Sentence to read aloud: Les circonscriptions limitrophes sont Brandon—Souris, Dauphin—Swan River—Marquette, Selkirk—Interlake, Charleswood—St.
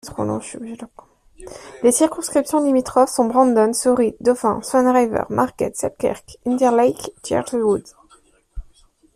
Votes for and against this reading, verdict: 1, 2, rejected